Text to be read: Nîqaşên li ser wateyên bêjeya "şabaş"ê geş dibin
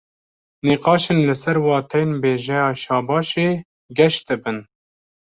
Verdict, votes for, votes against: accepted, 2, 0